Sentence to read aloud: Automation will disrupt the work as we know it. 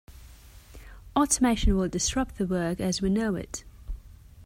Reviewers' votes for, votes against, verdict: 2, 0, accepted